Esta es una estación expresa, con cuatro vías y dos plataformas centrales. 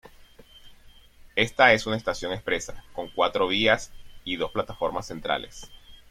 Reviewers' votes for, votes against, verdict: 2, 0, accepted